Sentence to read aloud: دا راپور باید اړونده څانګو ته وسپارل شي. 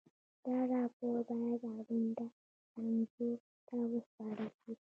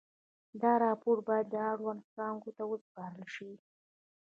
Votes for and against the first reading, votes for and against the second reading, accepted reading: 2, 1, 1, 2, first